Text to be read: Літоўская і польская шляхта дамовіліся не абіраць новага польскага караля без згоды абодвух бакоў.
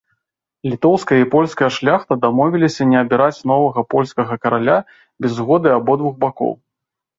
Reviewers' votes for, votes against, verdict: 2, 0, accepted